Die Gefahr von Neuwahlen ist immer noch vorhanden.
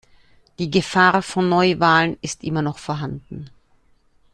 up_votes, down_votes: 2, 0